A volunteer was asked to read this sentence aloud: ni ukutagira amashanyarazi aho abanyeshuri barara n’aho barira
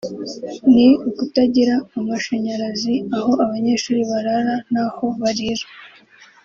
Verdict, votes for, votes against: accepted, 2, 0